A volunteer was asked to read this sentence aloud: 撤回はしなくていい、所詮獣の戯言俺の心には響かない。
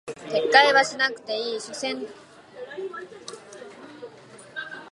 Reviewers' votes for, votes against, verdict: 1, 2, rejected